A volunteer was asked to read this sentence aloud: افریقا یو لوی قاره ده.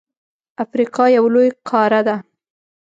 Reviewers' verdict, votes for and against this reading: accepted, 2, 0